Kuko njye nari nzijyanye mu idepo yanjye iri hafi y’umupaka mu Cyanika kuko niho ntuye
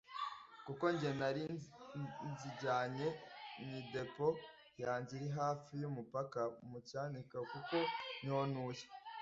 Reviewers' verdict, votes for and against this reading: accepted, 2, 0